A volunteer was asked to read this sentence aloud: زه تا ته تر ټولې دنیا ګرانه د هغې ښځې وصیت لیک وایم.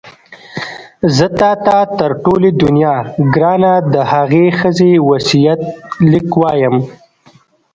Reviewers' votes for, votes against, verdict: 0, 2, rejected